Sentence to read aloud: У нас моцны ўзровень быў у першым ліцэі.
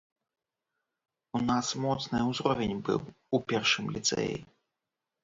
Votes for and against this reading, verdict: 2, 0, accepted